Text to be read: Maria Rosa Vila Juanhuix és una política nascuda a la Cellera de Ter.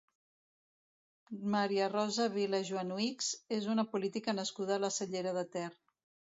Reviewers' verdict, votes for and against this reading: rejected, 1, 2